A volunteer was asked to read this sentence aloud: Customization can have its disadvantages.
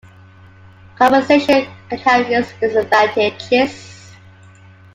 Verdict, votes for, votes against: rejected, 0, 2